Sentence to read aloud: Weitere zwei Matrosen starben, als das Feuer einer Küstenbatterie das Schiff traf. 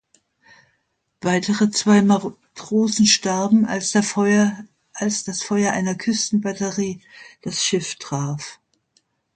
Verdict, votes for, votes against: rejected, 0, 2